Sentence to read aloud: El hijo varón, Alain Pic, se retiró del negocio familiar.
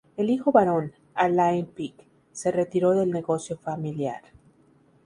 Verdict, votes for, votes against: accepted, 2, 0